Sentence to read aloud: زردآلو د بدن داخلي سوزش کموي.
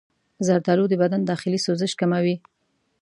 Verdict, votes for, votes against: accepted, 2, 0